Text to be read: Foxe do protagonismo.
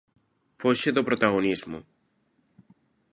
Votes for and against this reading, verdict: 2, 0, accepted